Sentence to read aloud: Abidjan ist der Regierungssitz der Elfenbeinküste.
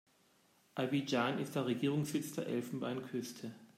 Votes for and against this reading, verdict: 2, 0, accepted